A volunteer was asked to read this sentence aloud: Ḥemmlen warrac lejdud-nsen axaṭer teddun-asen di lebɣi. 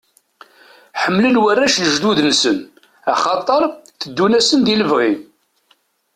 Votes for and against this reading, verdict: 2, 0, accepted